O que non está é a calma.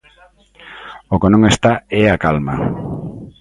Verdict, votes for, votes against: accepted, 2, 0